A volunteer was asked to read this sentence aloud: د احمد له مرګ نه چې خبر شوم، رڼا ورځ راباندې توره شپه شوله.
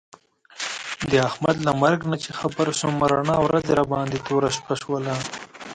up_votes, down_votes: 1, 2